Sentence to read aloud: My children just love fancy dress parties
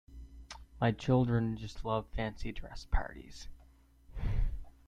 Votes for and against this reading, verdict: 2, 0, accepted